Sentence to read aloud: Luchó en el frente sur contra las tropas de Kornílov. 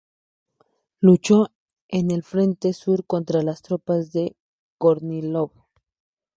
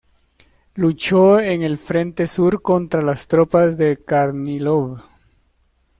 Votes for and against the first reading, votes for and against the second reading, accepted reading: 2, 0, 0, 2, first